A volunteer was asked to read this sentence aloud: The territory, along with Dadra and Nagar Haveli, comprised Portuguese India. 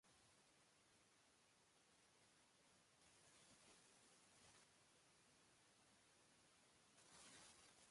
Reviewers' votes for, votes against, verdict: 0, 2, rejected